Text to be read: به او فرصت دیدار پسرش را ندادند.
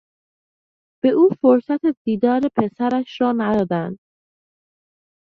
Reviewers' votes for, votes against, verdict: 0, 2, rejected